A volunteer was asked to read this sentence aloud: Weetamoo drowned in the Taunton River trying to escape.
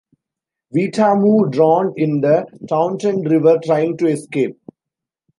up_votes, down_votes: 2, 0